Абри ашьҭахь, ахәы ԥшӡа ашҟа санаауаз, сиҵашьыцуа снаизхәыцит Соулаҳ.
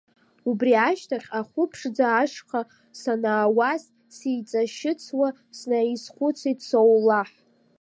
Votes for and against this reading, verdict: 1, 2, rejected